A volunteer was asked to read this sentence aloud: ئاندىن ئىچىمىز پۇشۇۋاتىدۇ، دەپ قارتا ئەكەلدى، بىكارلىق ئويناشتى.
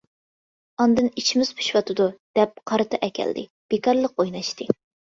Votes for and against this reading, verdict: 2, 0, accepted